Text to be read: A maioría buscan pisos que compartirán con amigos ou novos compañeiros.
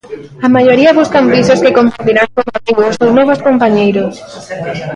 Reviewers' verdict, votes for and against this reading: rejected, 0, 2